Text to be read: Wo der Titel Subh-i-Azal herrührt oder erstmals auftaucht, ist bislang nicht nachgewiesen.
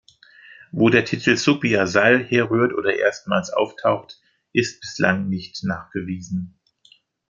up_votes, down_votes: 2, 0